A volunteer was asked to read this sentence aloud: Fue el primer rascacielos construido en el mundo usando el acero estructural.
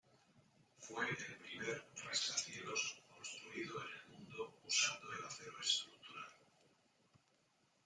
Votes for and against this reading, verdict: 2, 1, accepted